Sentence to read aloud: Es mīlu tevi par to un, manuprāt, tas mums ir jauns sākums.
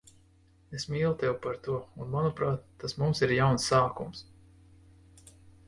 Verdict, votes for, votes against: accepted, 2, 0